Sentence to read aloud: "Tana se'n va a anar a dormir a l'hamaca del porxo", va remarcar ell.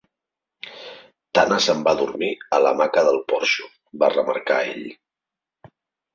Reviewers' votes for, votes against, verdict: 2, 3, rejected